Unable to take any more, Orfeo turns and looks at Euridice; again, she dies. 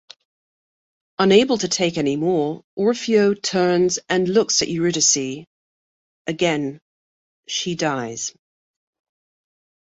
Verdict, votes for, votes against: accepted, 2, 1